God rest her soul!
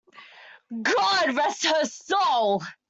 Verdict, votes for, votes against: accepted, 2, 1